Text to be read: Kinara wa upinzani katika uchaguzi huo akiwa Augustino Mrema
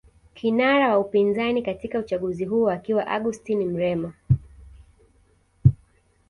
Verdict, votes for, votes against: accepted, 2, 0